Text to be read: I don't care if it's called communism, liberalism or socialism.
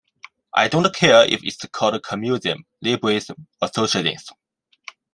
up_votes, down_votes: 2, 3